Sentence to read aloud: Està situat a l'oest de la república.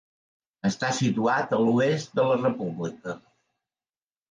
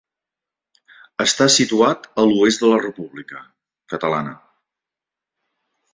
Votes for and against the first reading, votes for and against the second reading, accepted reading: 3, 0, 1, 2, first